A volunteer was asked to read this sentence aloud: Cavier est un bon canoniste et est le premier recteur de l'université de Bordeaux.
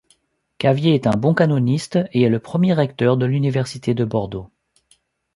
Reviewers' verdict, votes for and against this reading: accepted, 2, 0